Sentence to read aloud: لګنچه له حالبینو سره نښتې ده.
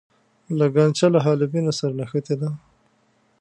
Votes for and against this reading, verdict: 2, 0, accepted